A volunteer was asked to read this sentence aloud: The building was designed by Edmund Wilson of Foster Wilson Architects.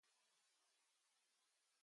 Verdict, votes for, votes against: rejected, 0, 2